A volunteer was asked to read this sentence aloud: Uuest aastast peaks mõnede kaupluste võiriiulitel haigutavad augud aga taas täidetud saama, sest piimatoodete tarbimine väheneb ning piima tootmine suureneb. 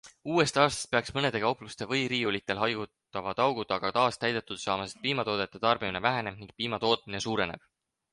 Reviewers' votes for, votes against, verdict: 0, 4, rejected